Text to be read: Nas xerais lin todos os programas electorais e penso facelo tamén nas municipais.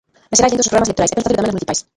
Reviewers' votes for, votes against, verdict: 0, 3, rejected